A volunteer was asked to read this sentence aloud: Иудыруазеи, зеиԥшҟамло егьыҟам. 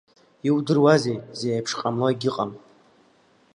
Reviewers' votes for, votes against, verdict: 3, 2, accepted